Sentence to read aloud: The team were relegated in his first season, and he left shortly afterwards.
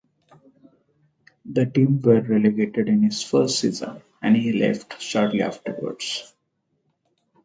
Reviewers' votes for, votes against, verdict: 4, 0, accepted